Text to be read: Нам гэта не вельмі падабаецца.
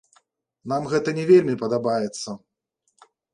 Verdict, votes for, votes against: accepted, 2, 1